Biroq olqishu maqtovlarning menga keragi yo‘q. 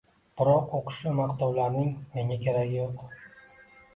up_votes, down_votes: 0, 2